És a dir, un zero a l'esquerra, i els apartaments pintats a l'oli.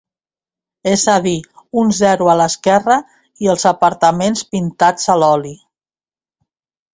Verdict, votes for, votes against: accepted, 2, 0